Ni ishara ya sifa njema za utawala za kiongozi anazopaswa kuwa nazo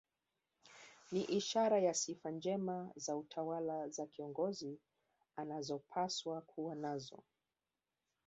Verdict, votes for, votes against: rejected, 0, 2